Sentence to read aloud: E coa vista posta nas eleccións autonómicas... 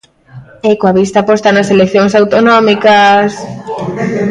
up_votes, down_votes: 1, 2